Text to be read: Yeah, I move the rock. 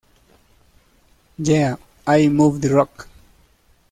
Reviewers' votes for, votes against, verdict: 0, 2, rejected